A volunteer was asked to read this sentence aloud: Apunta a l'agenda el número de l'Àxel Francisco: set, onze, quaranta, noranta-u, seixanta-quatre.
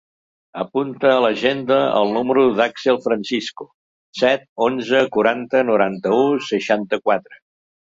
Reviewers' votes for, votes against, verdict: 0, 4, rejected